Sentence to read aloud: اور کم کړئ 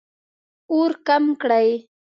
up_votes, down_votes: 2, 0